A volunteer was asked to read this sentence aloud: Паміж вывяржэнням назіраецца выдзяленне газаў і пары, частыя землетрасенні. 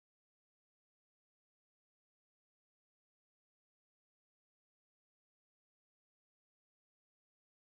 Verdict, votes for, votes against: rejected, 0, 2